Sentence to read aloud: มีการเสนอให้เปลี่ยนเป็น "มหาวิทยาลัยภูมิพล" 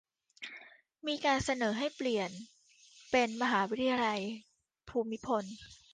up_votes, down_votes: 2, 0